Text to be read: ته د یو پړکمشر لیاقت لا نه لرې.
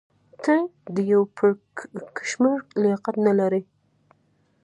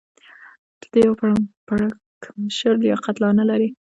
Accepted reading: first